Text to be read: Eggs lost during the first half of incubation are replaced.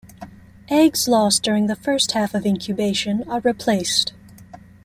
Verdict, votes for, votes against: accepted, 2, 0